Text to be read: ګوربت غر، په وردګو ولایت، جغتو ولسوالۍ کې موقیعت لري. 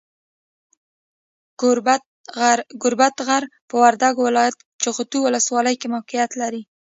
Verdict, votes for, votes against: rejected, 1, 2